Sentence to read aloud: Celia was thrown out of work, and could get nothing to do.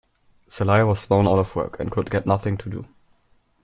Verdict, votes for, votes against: accepted, 2, 1